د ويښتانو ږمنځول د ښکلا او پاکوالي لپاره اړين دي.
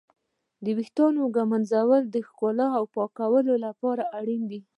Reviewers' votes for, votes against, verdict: 0, 2, rejected